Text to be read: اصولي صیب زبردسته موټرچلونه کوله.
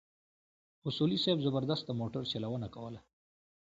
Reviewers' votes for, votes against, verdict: 2, 1, accepted